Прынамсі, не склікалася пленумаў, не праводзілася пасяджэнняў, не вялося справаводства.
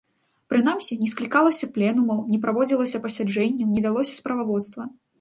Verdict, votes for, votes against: accepted, 3, 0